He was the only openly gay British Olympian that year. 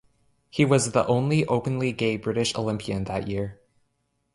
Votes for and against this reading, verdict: 2, 0, accepted